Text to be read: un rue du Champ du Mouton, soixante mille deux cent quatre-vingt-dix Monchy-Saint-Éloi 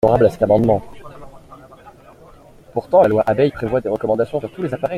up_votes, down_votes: 0, 2